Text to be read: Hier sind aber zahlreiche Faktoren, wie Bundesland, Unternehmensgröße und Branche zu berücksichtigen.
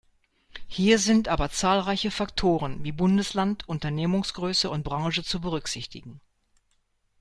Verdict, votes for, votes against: rejected, 0, 2